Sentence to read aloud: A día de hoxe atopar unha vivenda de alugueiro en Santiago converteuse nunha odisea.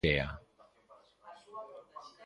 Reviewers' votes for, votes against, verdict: 0, 2, rejected